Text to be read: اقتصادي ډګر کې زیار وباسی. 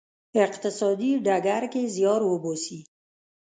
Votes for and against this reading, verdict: 1, 2, rejected